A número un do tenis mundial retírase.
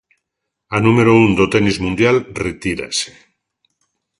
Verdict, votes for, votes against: accepted, 2, 0